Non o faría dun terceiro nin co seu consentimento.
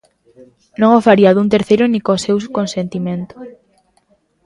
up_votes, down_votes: 0, 2